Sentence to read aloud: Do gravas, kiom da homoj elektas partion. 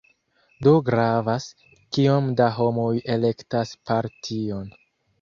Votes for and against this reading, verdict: 1, 2, rejected